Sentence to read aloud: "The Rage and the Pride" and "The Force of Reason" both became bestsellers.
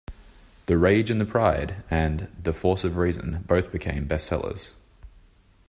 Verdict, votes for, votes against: accepted, 2, 0